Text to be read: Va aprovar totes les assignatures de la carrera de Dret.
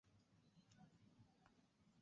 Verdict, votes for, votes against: rejected, 1, 2